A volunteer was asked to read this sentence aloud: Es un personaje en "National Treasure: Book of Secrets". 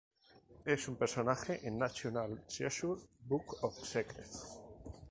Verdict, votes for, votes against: accepted, 2, 0